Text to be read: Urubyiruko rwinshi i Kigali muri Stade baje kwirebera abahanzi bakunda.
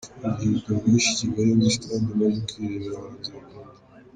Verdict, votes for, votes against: rejected, 0, 3